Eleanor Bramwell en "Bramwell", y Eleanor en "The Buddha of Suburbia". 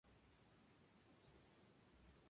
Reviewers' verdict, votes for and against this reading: accepted, 2, 0